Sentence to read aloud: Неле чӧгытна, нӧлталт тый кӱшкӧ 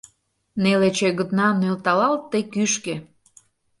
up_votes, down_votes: 0, 2